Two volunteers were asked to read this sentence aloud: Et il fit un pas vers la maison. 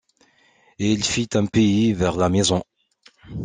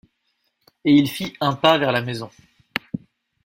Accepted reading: second